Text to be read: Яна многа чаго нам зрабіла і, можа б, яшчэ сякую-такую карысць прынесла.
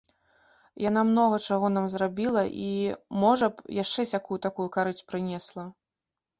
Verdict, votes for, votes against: rejected, 0, 2